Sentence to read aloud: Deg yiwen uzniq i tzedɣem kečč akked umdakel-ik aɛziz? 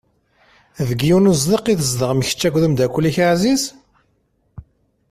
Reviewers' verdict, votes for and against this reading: accepted, 2, 0